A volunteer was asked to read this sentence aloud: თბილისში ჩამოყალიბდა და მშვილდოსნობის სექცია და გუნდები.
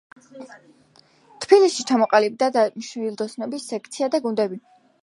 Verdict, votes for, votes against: accepted, 2, 1